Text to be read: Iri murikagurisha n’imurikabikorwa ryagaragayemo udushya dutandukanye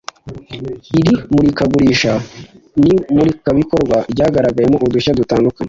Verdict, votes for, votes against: rejected, 1, 2